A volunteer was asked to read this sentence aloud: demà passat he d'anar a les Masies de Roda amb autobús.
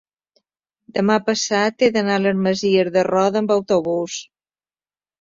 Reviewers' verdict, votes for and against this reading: accepted, 3, 1